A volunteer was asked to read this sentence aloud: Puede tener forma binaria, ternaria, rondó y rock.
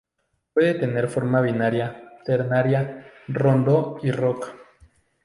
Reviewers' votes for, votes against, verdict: 2, 0, accepted